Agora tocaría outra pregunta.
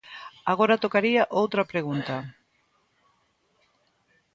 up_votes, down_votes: 2, 0